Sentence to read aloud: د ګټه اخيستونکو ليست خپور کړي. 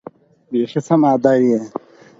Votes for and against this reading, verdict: 4, 2, accepted